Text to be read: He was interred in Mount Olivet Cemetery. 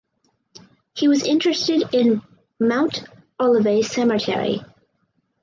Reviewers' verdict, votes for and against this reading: rejected, 0, 4